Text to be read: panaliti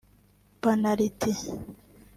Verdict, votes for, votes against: accepted, 2, 0